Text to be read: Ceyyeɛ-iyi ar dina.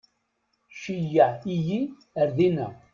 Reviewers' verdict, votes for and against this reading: rejected, 1, 2